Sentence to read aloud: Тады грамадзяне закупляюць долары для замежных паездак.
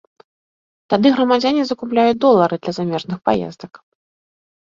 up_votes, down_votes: 2, 0